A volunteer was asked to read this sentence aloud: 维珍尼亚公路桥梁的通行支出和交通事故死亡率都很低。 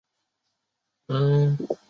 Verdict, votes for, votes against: rejected, 0, 2